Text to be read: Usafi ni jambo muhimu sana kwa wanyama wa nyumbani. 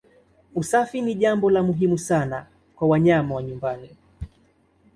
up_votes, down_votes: 2, 1